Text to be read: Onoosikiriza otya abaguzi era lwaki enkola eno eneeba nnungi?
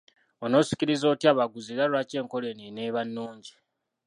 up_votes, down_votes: 1, 2